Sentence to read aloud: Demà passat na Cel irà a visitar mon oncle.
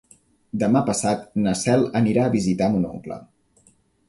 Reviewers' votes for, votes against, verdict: 1, 3, rejected